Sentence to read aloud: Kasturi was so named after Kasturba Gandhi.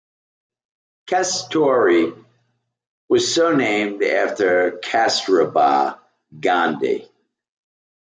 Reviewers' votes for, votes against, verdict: 2, 0, accepted